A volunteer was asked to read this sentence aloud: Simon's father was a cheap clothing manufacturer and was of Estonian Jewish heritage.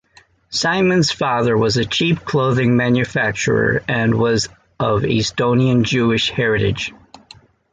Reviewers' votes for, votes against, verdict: 2, 0, accepted